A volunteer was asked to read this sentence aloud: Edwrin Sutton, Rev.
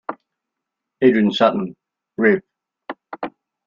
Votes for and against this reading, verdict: 0, 2, rejected